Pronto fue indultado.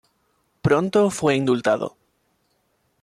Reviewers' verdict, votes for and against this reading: rejected, 1, 2